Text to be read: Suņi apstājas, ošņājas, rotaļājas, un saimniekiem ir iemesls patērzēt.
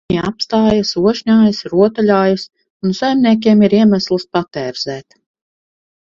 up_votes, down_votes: 0, 4